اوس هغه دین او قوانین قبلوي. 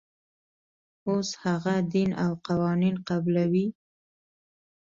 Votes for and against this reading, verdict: 2, 0, accepted